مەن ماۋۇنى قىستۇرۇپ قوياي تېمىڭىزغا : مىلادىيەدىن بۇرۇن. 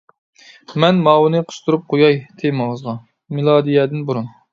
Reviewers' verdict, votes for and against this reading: accepted, 2, 0